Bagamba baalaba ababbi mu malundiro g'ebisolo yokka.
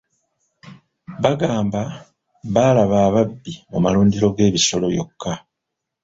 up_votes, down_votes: 1, 2